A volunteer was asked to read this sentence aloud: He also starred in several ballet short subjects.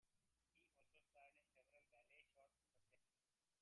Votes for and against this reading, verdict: 0, 2, rejected